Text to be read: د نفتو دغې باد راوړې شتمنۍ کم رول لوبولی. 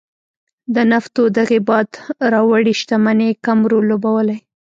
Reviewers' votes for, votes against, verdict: 1, 2, rejected